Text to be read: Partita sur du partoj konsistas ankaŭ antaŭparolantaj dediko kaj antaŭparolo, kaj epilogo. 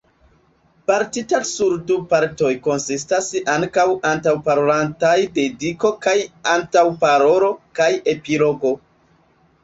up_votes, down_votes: 0, 3